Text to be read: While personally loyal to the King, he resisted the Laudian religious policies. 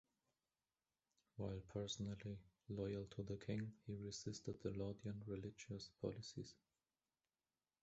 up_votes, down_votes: 2, 0